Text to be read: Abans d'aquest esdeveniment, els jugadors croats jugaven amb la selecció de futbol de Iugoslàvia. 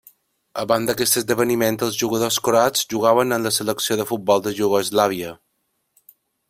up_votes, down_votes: 2, 1